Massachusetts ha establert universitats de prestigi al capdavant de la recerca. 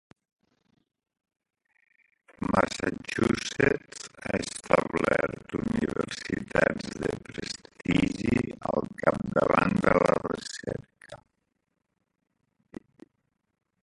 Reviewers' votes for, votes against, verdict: 0, 2, rejected